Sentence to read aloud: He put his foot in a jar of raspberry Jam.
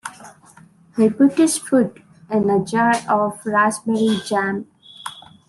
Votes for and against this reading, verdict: 2, 0, accepted